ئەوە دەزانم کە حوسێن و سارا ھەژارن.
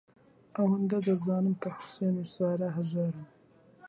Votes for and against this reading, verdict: 0, 2, rejected